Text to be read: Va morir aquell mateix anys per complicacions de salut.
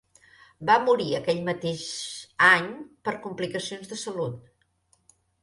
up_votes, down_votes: 1, 3